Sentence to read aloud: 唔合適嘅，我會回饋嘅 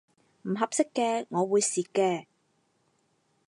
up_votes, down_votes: 0, 4